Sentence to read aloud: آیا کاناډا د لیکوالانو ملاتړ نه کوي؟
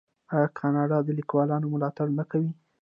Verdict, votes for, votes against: accepted, 2, 0